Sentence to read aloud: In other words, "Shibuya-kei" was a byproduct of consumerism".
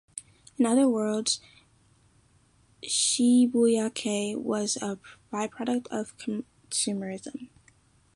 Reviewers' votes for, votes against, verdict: 1, 2, rejected